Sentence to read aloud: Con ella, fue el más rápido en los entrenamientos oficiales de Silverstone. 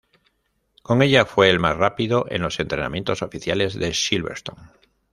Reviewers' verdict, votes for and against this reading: rejected, 0, 2